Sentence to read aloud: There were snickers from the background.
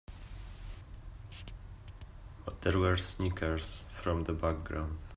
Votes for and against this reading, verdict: 2, 1, accepted